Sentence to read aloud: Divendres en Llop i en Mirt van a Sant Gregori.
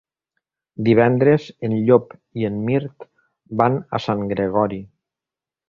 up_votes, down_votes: 3, 0